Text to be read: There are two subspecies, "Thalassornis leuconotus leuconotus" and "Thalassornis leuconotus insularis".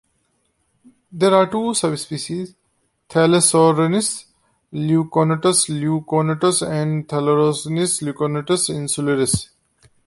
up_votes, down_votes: 0, 2